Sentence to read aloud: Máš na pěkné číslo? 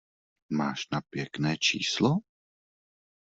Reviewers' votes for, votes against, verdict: 2, 0, accepted